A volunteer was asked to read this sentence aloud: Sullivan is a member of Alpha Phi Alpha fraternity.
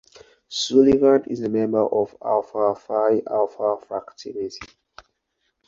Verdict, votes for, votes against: rejected, 0, 2